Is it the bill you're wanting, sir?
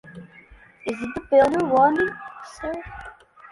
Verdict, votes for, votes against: accepted, 2, 0